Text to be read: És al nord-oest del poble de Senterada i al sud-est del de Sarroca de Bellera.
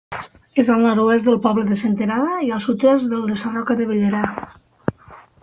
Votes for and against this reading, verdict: 2, 0, accepted